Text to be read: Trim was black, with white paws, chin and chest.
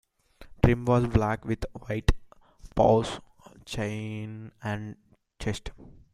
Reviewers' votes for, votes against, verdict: 1, 2, rejected